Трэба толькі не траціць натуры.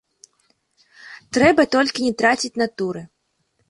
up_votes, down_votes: 2, 0